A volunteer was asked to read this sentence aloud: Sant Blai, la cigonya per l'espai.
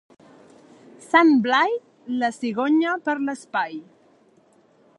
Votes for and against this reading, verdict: 2, 0, accepted